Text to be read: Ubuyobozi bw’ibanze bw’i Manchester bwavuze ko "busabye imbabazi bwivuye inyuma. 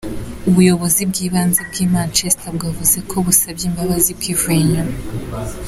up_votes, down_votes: 2, 0